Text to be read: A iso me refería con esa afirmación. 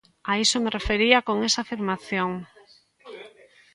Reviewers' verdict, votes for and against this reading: accepted, 2, 1